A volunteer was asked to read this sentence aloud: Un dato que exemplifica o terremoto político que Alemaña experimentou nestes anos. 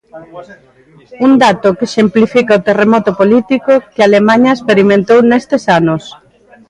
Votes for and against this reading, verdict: 0, 2, rejected